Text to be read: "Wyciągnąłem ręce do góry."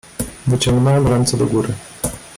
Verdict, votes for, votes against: accepted, 2, 1